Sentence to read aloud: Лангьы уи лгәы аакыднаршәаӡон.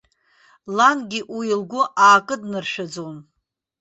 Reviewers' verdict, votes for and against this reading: accepted, 2, 0